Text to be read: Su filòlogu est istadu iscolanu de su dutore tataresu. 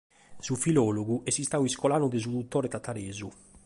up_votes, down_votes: 2, 0